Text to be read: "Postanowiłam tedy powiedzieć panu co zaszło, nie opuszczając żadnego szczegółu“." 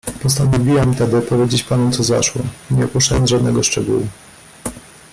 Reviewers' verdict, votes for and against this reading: rejected, 1, 2